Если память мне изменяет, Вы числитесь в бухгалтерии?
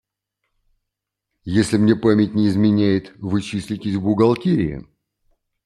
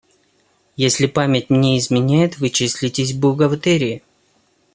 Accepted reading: second